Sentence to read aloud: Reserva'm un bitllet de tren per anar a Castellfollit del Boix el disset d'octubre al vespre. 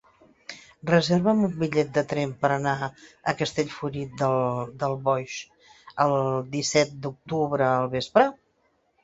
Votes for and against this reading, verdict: 0, 2, rejected